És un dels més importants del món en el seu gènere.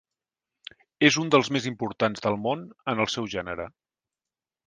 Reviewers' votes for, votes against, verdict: 4, 0, accepted